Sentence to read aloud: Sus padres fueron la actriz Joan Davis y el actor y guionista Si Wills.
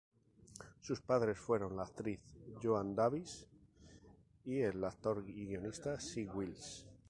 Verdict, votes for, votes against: rejected, 2, 2